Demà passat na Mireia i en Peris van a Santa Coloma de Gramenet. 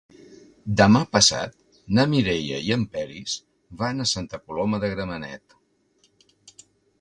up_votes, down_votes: 2, 0